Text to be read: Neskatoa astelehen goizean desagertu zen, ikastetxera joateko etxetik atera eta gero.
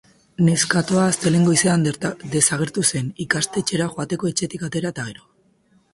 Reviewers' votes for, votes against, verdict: 0, 2, rejected